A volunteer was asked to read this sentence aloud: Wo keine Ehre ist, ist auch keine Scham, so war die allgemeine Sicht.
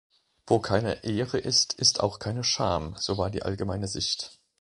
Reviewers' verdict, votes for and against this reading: accepted, 2, 1